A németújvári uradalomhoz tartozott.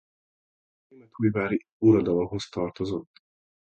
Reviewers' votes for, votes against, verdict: 0, 2, rejected